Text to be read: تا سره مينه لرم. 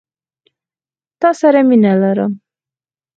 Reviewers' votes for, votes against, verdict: 4, 0, accepted